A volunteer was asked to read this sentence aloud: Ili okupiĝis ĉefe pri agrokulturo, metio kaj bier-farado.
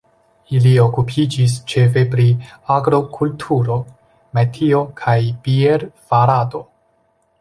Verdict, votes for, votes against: accepted, 2, 0